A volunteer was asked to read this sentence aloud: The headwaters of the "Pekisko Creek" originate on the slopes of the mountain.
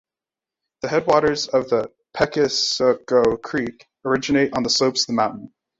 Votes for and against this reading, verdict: 0, 2, rejected